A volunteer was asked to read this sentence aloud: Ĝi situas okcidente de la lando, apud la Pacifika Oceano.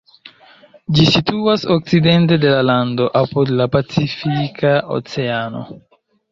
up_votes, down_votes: 2, 0